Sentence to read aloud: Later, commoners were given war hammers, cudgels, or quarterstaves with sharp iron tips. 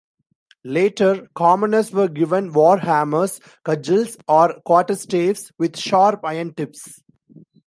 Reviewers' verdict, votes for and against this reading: accepted, 2, 0